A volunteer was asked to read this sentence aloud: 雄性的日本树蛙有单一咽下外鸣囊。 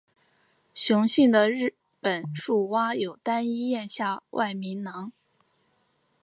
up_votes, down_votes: 5, 1